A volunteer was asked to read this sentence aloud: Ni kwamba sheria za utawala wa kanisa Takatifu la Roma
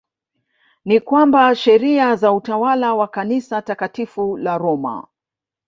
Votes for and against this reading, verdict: 2, 0, accepted